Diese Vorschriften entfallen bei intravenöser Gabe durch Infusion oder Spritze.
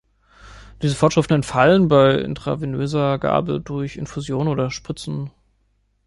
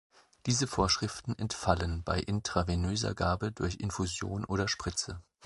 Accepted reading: second